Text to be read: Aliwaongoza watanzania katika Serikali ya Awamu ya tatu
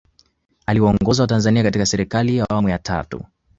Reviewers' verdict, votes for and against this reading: accepted, 2, 0